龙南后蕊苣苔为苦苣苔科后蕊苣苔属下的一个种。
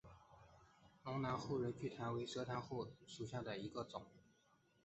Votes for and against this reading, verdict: 0, 2, rejected